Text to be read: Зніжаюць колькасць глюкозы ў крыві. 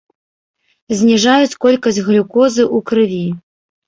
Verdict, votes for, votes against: rejected, 1, 2